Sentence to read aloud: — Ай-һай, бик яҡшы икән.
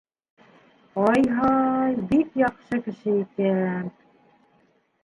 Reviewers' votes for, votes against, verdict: 0, 2, rejected